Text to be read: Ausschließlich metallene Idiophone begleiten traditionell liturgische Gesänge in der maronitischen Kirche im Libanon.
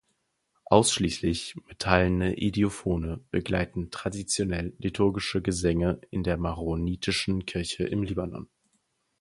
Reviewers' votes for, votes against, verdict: 4, 0, accepted